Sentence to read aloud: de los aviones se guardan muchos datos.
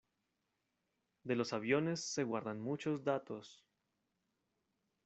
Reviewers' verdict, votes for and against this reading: accepted, 2, 0